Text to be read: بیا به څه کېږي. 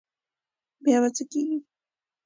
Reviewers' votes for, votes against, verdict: 2, 0, accepted